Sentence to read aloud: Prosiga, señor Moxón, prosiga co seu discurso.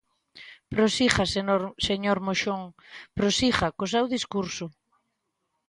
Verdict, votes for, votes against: rejected, 0, 2